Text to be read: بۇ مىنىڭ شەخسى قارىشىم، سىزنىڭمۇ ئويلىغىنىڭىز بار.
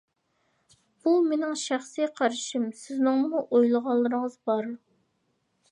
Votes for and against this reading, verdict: 0, 2, rejected